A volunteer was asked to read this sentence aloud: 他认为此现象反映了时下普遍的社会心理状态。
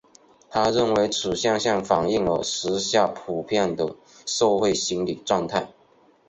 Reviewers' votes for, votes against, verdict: 1, 2, rejected